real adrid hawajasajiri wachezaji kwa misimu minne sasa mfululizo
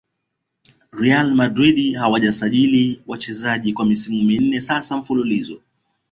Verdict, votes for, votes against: accepted, 2, 0